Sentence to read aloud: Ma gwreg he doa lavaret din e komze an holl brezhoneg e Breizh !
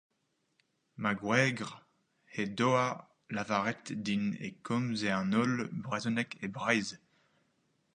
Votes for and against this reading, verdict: 0, 4, rejected